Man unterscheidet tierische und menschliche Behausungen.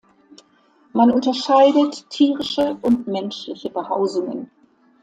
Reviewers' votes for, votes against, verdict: 2, 0, accepted